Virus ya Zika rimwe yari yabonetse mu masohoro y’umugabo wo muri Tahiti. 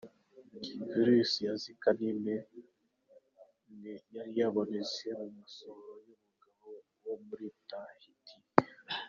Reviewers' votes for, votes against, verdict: 0, 2, rejected